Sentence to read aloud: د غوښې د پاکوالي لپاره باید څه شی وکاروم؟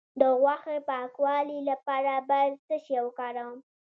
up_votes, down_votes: 2, 0